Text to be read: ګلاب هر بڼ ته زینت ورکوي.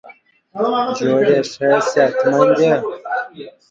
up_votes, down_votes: 1, 7